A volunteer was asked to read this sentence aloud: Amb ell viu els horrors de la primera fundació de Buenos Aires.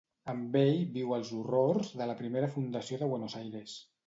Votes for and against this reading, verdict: 2, 0, accepted